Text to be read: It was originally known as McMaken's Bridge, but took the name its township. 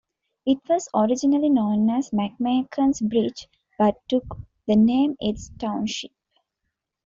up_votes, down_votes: 2, 1